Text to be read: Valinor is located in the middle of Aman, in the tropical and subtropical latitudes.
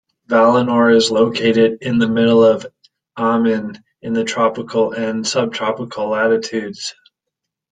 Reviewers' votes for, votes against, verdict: 2, 0, accepted